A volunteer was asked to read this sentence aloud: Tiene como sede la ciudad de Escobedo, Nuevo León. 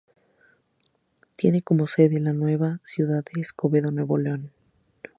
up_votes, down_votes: 4, 4